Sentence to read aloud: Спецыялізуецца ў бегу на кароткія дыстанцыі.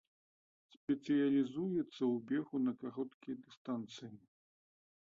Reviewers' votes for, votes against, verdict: 2, 0, accepted